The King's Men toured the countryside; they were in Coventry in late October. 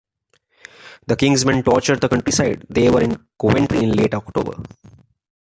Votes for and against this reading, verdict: 1, 2, rejected